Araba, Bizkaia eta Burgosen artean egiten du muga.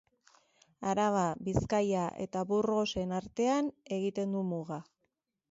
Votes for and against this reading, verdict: 3, 0, accepted